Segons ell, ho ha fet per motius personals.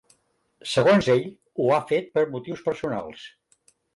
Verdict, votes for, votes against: accepted, 4, 0